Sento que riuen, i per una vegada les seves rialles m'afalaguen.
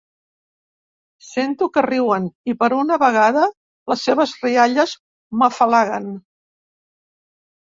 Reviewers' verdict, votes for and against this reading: accepted, 2, 0